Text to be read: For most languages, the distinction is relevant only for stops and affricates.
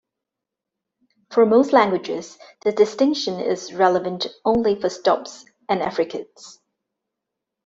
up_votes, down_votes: 2, 0